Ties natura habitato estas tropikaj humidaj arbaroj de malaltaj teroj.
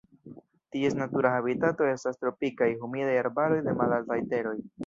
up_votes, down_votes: 1, 2